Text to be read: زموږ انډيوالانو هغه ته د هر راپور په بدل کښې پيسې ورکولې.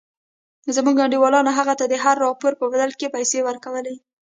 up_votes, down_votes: 1, 2